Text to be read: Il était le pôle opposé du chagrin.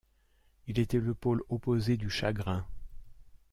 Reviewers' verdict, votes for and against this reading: rejected, 0, 2